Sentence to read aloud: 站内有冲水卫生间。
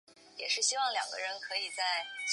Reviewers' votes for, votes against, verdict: 1, 2, rejected